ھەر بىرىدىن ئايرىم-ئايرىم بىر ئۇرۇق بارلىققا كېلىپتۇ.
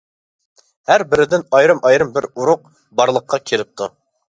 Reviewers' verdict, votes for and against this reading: accepted, 2, 0